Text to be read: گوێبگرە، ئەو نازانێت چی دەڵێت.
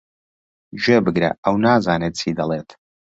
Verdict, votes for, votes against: accepted, 2, 0